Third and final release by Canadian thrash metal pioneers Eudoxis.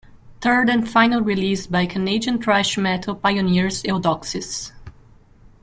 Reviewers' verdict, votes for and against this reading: rejected, 1, 2